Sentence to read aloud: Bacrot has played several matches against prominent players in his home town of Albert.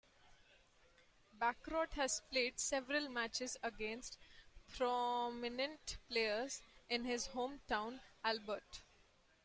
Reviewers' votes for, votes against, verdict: 1, 2, rejected